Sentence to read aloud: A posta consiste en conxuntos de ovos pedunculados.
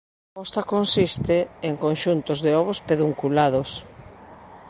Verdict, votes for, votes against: rejected, 0, 2